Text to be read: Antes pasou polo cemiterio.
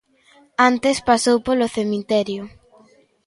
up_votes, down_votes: 2, 0